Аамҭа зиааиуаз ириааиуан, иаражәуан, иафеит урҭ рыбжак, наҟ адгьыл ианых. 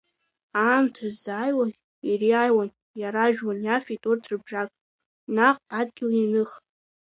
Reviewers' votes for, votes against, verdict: 2, 0, accepted